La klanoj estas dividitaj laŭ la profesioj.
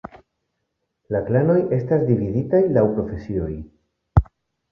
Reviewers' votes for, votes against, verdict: 1, 2, rejected